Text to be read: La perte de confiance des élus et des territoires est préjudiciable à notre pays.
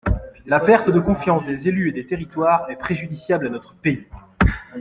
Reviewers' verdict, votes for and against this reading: accepted, 2, 1